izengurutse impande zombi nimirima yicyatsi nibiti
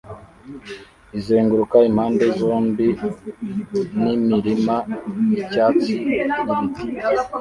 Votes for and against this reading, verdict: 1, 2, rejected